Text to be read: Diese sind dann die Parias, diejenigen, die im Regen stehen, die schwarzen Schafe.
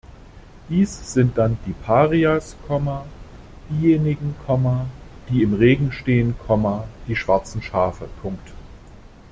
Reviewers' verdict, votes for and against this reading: rejected, 0, 2